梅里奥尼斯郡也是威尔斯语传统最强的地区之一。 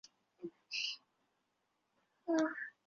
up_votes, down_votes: 0, 3